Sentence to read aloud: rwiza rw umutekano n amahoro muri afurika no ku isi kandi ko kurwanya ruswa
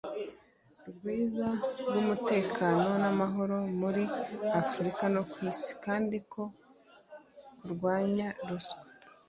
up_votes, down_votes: 2, 0